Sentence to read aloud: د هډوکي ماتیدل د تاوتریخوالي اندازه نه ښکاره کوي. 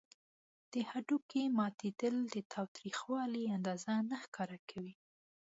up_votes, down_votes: 2, 0